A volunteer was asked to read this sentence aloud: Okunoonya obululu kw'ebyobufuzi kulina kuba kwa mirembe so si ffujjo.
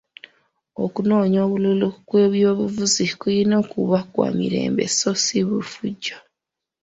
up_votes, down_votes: 1, 2